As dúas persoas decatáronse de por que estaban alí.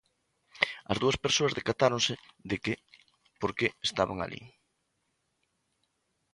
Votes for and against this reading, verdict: 0, 2, rejected